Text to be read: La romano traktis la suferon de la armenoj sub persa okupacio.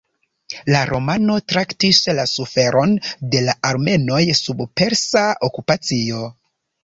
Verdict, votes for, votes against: accepted, 2, 1